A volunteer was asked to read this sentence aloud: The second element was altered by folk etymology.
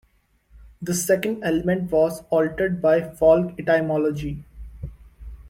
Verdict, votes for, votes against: accepted, 2, 1